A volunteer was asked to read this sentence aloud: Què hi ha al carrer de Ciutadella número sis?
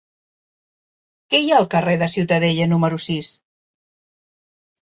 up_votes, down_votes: 3, 0